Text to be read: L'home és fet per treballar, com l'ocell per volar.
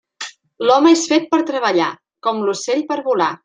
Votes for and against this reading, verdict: 3, 0, accepted